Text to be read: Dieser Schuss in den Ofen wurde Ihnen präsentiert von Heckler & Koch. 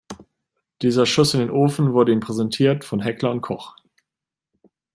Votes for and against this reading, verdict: 2, 0, accepted